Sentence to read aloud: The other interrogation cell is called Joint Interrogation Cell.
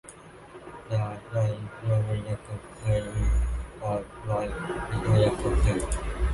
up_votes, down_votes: 0, 2